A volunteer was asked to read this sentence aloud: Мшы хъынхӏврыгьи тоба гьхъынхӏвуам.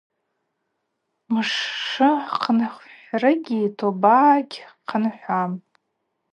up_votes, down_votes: 2, 0